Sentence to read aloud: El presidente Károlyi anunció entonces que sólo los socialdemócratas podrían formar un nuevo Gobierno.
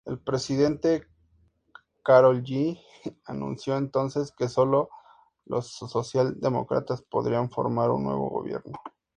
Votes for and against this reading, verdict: 2, 0, accepted